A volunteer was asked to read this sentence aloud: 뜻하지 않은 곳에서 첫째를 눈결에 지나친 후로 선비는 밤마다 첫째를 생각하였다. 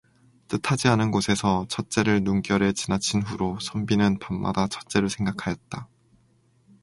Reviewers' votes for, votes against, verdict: 4, 0, accepted